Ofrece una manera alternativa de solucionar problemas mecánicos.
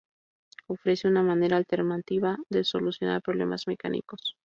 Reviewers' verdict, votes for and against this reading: rejected, 2, 2